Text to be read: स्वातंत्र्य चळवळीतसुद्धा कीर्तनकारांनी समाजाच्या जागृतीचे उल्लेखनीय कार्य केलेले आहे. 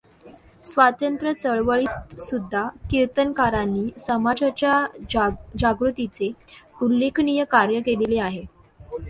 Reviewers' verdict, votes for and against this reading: rejected, 0, 2